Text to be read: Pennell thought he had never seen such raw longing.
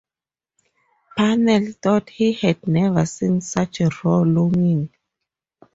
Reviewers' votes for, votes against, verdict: 4, 0, accepted